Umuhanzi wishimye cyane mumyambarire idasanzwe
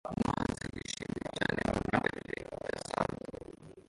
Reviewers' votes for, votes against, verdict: 0, 2, rejected